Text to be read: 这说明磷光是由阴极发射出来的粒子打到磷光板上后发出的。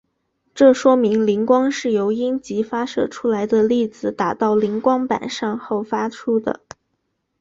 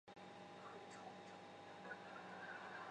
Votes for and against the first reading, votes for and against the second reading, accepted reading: 4, 2, 0, 2, first